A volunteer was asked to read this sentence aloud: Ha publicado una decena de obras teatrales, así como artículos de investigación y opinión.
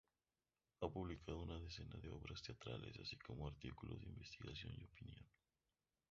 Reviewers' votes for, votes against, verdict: 0, 2, rejected